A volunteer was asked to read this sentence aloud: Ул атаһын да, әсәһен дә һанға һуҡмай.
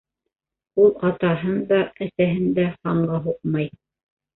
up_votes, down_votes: 2, 0